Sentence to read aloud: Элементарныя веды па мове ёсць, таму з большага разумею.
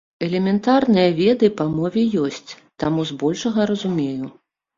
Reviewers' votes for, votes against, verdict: 3, 0, accepted